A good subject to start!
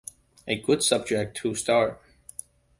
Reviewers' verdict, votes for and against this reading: accepted, 2, 1